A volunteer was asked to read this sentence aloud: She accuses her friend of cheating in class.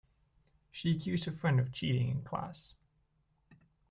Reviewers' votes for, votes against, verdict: 0, 2, rejected